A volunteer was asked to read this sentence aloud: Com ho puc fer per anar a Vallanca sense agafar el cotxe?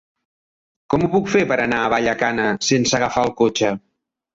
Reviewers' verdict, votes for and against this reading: rejected, 0, 2